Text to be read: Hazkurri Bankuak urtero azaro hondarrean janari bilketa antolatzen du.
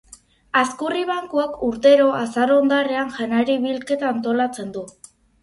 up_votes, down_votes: 4, 0